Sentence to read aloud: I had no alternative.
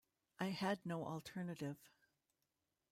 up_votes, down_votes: 2, 0